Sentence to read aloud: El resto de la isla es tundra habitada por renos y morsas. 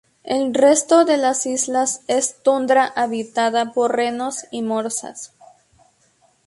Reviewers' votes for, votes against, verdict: 0, 2, rejected